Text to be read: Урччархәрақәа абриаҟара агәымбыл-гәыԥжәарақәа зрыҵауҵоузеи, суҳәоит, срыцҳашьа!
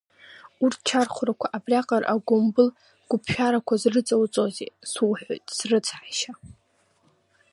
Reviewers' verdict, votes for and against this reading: rejected, 2, 3